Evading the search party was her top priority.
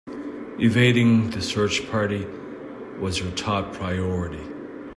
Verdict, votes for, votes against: accepted, 2, 0